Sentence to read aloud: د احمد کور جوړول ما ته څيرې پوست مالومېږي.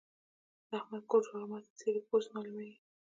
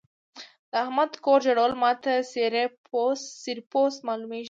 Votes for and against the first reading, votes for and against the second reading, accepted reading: 0, 2, 2, 0, second